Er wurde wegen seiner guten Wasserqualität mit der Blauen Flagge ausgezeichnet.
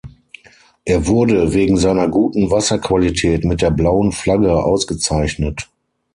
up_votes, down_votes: 6, 0